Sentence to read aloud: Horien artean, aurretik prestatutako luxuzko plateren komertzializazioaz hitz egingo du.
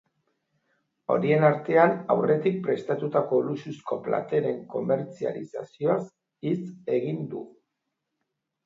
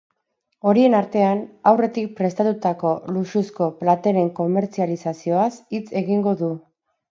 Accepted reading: second